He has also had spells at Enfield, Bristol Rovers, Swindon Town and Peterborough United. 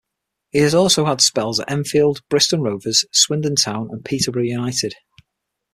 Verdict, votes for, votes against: accepted, 6, 0